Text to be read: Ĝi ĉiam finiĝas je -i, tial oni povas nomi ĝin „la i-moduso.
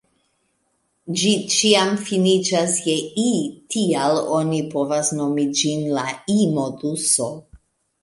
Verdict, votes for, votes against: accepted, 2, 1